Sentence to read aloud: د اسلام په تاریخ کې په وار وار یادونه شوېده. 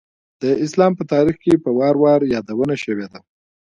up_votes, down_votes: 3, 2